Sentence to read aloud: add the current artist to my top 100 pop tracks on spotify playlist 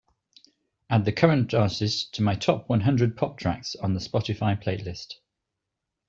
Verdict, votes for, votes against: rejected, 0, 2